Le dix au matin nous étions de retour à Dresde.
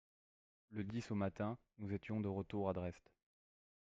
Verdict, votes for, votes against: accepted, 2, 0